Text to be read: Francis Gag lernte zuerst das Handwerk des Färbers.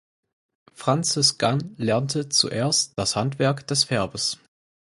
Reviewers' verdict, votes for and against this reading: rejected, 2, 4